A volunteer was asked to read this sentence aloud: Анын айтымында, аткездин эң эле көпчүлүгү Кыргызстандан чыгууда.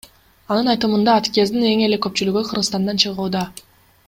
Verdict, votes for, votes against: accepted, 2, 1